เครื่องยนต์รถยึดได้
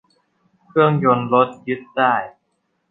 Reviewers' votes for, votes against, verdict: 2, 0, accepted